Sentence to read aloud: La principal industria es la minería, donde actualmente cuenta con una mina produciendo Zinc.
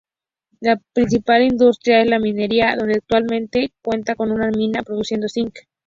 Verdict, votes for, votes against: accepted, 2, 0